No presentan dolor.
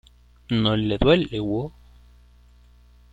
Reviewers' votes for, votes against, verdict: 0, 2, rejected